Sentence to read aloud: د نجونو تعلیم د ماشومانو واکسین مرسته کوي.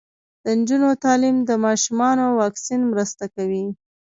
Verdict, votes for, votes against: rejected, 0, 2